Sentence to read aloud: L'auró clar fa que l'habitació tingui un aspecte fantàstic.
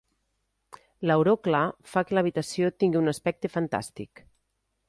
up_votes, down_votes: 2, 0